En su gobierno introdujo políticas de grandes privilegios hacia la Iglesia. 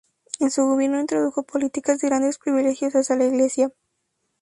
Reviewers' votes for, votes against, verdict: 2, 0, accepted